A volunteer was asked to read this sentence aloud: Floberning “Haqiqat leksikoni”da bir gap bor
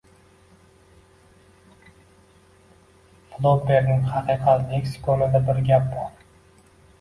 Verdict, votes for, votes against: rejected, 0, 2